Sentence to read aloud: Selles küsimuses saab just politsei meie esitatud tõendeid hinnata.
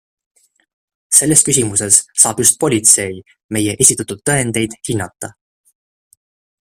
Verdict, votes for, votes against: accepted, 2, 0